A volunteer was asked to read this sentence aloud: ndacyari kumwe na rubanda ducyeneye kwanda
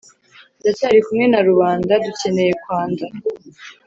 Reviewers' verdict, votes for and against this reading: accepted, 2, 0